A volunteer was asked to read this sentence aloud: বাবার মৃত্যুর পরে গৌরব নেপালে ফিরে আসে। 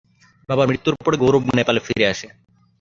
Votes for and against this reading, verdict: 4, 5, rejected